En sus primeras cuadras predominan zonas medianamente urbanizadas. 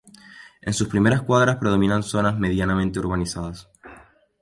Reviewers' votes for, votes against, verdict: 4, 0, accepted